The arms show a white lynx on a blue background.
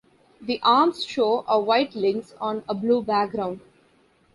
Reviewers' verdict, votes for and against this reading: accepted, 2, 0